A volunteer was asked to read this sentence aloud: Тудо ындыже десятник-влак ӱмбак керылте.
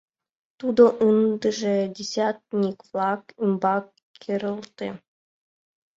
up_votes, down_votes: 3, 2